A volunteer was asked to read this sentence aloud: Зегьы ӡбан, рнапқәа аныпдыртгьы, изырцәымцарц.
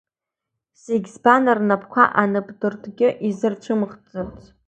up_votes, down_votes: 1, 2